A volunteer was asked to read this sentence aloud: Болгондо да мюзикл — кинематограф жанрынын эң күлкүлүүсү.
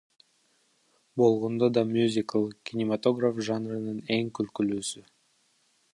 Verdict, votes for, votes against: rejected, 0, 2